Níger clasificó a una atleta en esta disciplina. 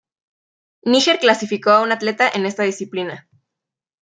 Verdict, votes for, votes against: accepted, 2, 0